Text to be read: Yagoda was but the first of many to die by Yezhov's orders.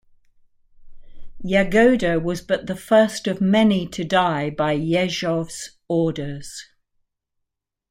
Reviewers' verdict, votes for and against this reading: accepted, 2, 0